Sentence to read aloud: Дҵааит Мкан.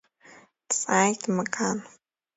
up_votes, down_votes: 2, 1